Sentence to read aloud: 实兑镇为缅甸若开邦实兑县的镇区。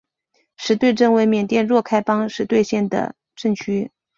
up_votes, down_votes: 2, 0